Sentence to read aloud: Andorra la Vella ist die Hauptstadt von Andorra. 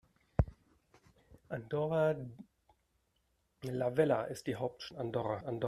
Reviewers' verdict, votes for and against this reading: rejected, 0, 2